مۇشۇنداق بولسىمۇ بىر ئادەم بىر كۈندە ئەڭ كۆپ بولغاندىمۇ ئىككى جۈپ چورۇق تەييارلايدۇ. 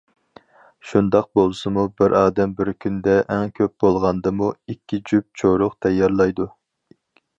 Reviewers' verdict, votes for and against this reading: rejected, 0, 4